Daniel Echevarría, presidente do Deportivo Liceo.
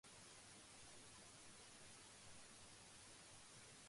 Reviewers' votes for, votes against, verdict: 0, 2, rejected